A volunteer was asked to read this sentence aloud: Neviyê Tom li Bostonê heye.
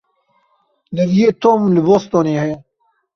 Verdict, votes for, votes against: accepted, 2, 0